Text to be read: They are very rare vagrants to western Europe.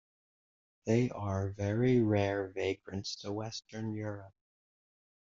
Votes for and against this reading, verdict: 1, 2, rejected